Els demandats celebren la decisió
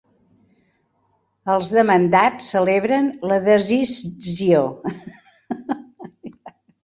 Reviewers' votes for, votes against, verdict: 1, 2, rejected